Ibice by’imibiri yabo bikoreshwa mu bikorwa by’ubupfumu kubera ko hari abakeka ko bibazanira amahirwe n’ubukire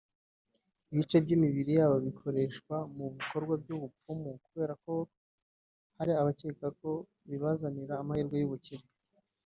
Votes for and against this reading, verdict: 0, 2, rejected